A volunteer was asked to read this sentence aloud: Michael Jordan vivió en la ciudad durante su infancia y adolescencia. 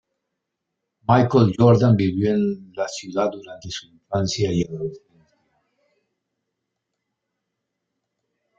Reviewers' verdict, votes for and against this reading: rejected, 1, 2